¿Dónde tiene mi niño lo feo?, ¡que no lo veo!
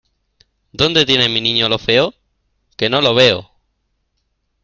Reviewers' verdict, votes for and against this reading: accepted, 2, 0